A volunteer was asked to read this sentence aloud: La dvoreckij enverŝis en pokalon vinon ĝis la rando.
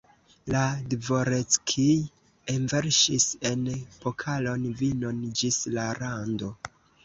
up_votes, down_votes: 1, 2